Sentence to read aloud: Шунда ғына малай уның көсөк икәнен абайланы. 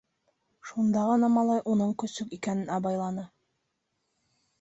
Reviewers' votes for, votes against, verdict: 3, 0, accepted